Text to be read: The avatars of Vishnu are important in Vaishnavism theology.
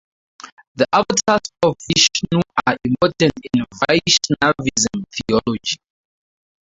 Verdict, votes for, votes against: rejected, 2, 2